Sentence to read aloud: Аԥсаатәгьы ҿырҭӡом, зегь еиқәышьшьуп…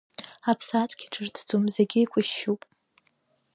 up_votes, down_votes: 2, 1